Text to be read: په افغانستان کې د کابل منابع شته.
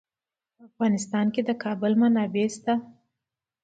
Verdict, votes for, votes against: rejected, 1, 2